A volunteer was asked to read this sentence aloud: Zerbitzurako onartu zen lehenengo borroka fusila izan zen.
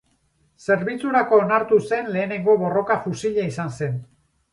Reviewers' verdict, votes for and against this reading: rejected, 0, 2